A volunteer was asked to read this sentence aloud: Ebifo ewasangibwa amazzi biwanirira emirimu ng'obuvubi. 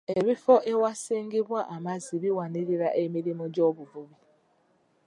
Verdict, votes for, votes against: rejected, 1, 2